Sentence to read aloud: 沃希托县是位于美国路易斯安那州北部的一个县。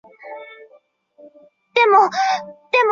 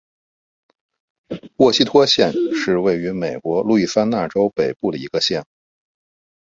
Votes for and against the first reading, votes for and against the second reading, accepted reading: 0, 2, 2, 0, second